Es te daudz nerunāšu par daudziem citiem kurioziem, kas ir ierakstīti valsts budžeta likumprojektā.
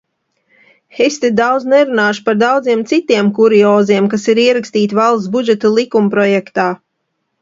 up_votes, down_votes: 2, 0